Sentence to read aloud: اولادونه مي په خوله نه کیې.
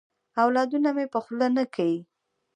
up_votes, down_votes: 1, 2